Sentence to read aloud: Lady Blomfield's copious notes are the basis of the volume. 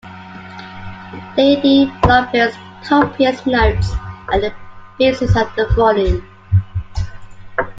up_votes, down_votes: 2, 0